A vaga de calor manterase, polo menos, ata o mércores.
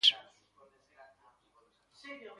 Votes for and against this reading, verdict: 0, 2, rejected